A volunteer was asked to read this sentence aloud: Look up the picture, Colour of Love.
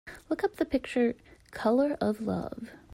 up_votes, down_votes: 2, 0